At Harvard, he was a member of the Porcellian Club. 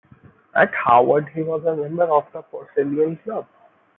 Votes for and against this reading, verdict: 1, 2, rejected